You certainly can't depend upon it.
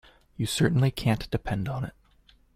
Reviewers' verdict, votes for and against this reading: rejected, 0, 2